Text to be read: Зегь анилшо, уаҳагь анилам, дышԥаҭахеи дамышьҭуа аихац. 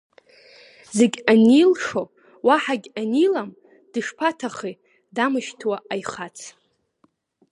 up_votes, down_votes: 2, 0